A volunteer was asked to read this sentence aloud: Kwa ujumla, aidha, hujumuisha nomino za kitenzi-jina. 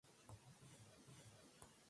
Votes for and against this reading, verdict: 0, 2, rejected